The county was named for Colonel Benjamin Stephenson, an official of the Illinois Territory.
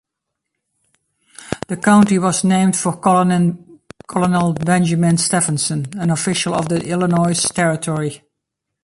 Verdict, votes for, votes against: rejected, 2, 3